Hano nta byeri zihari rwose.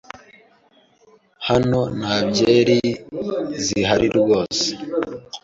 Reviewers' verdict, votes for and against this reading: accepted, 2, 0